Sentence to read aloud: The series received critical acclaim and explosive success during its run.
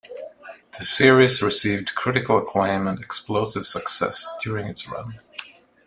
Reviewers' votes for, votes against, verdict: 2, 0, accepted